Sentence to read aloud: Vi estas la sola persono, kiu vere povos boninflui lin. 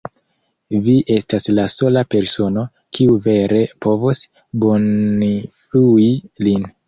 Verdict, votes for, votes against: rejected, 1, 2